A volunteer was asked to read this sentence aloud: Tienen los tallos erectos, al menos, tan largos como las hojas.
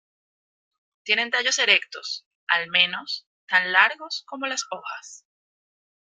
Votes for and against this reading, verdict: 1, 2, rejected